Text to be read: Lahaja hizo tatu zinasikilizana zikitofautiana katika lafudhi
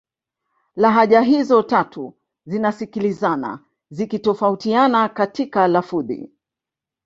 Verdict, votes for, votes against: rejected, 0, 2